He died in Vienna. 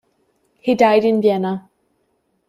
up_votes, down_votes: 2, 0